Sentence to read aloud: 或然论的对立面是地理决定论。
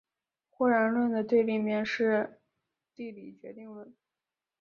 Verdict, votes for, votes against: accepted, 3, 1